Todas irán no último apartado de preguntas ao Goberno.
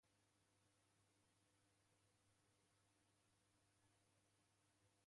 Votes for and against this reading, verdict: 0, 2, rejected